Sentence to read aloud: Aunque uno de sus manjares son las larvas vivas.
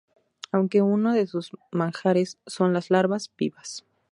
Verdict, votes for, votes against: rejected, 2, 2